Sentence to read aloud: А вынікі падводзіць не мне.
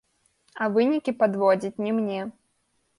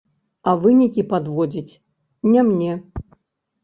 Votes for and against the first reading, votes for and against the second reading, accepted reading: 2, 0, 2, 3, first